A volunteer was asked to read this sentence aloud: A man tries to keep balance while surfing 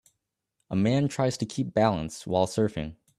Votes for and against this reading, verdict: 2, 0, accepted